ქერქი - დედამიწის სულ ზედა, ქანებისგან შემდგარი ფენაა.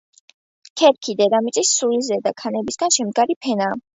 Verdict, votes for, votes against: accepted, 2, 0